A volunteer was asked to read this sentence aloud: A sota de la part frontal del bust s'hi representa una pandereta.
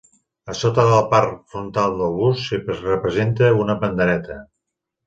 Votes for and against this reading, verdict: 1, 3, rejected